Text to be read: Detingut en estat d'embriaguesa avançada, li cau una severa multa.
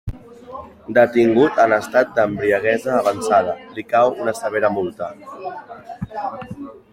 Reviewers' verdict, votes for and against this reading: accepted, 2, 1